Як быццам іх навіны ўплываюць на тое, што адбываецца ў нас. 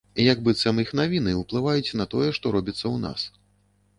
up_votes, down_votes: 0, 2